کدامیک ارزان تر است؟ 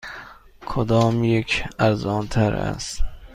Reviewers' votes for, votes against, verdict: 2, 0, accepted